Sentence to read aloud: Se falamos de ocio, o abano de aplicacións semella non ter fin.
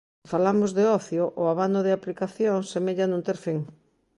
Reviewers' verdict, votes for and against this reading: rejected, 0, 3